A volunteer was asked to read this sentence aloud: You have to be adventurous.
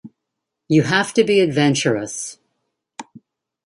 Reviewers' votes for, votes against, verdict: 2, 0, accepted